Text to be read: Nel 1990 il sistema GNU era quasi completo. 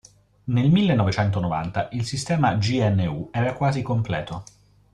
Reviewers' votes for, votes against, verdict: 0, 2, rejected